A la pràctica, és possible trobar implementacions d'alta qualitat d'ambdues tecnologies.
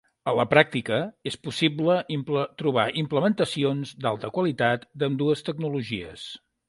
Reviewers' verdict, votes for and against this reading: rejected, 0, 2